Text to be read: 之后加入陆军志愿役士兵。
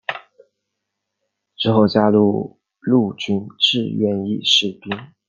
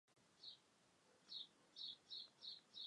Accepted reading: first